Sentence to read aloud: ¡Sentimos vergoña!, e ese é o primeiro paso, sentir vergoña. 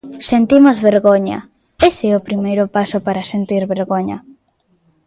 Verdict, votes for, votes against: rejected, 0, 2